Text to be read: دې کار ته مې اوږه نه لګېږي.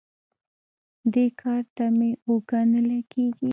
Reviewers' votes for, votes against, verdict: 0, 2, rejected